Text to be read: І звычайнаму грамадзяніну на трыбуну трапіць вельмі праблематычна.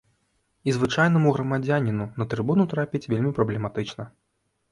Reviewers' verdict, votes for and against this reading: accepted, 3, 0